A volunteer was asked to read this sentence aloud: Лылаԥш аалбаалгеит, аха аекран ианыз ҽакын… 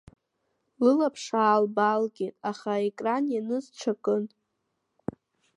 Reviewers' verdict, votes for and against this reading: accepted, 2, 0